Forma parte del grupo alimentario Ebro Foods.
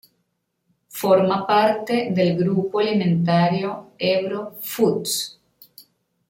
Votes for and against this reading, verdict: 2, 1, accepted